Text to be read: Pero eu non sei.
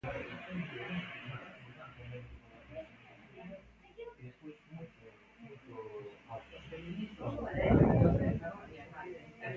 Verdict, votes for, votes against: rejected, 0, 2